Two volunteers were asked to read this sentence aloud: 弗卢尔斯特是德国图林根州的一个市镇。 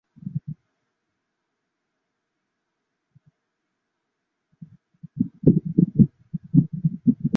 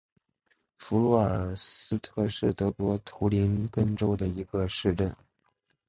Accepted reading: second